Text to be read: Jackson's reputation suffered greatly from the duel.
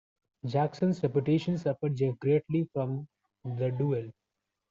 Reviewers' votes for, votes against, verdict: 2, 0, accepted